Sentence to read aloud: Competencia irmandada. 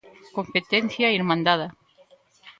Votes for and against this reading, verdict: 1, 2, rejected